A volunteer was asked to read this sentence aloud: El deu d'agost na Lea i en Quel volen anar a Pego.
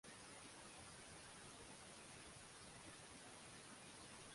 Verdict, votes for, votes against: rejected, 0, 2